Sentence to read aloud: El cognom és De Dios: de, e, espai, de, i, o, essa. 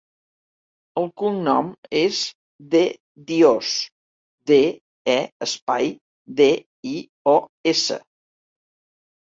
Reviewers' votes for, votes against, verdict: 2, 0, accepted